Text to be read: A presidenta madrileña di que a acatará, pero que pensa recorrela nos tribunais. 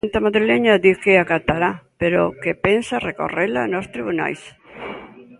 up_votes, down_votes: 0, 2